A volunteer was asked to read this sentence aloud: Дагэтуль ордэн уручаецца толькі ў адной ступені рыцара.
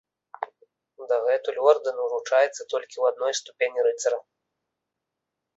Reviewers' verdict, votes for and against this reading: accepted, 3, 0